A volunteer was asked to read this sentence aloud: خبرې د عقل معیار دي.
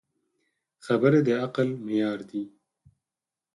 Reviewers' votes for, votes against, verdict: 10, 0, accepted